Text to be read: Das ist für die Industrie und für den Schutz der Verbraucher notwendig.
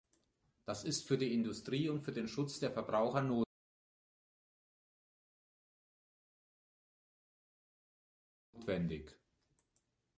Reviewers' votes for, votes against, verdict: 0, 2, rejected